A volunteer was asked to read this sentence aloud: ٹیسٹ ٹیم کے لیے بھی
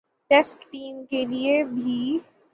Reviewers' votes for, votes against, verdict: 15, 0, accepted